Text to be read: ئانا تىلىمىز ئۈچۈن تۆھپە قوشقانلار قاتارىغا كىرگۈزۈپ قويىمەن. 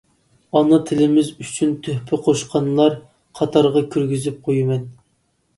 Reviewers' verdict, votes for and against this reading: accepted, 2, 0